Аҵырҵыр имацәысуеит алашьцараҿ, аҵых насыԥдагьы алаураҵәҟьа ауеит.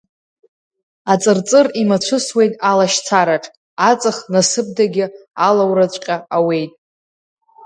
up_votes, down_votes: 2, 0